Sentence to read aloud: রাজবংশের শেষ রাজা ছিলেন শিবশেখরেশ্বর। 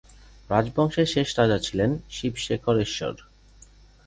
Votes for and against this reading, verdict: 2, 2, rejected